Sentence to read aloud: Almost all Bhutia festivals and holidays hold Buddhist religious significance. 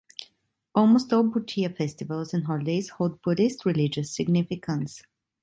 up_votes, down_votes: 2, 0